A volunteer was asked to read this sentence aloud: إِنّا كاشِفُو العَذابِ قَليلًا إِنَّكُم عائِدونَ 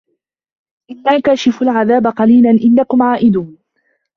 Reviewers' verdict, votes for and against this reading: rejected, 0, 2